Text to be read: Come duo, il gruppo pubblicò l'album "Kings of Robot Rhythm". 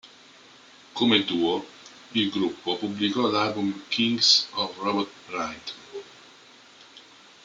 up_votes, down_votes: 0, 2